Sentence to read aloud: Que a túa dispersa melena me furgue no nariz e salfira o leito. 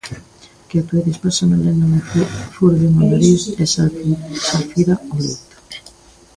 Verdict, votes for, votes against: rejected, 0, 2